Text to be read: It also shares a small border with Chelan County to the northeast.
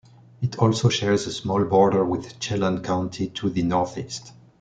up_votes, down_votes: 2, 0